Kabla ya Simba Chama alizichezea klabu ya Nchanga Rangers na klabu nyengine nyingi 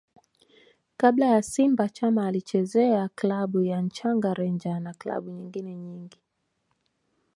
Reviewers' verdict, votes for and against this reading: rejected, 0, 2